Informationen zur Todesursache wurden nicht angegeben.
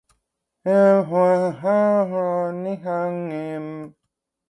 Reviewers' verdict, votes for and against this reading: rejected, 0, 2